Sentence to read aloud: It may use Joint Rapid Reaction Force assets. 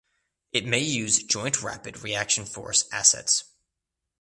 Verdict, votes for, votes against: accepted, 2, 0